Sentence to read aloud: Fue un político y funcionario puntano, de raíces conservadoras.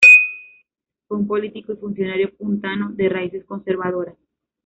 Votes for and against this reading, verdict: 2, 0, accepted